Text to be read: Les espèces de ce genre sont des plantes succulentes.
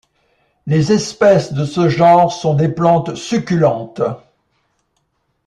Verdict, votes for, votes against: accepted, 2, 0